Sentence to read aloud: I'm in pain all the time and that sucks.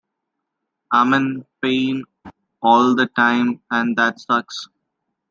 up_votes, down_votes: 2, 0